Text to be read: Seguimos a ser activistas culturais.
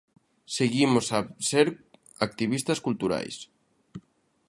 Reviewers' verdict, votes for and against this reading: accepted, 2, 0